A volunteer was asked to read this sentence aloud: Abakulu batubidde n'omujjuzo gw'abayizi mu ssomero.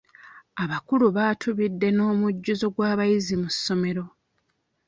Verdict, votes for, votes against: rejected, 0, 2